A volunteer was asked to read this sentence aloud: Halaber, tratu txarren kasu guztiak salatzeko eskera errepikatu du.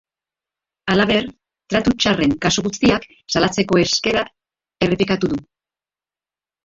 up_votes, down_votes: 0, 2